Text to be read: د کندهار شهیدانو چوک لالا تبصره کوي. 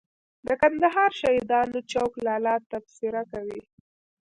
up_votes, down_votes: 1, 2